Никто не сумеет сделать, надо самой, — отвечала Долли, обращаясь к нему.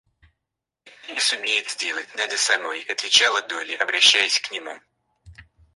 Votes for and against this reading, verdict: 2, 4, rejected